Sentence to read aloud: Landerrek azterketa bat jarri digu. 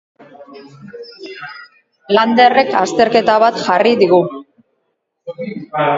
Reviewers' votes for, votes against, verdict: 2, 2, rejected